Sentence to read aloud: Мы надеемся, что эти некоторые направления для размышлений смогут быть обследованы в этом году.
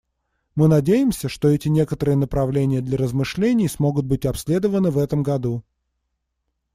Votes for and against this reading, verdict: 2, 0, accepted